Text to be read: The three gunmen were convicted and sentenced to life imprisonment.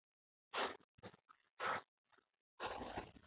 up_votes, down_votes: 1, 3